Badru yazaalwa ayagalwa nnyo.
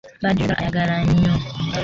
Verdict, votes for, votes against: rejected, 0, 3